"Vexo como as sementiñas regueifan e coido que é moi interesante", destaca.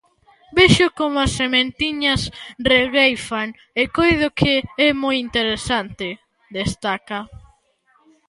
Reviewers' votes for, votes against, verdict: 2, 0, accepted